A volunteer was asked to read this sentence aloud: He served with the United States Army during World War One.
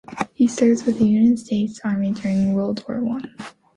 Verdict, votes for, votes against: accepted, 2, 0